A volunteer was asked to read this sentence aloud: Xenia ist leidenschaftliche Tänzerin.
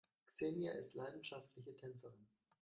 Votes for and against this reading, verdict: 2, 0, accepted